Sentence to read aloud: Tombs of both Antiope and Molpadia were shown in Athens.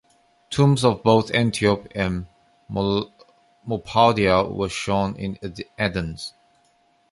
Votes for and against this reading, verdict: 0, 2, rejected